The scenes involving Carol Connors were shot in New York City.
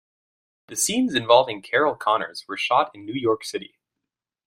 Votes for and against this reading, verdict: 2, 0, accepted